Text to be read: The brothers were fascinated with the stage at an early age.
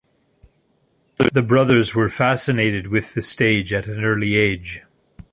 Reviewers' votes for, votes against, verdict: 2, 0, accepted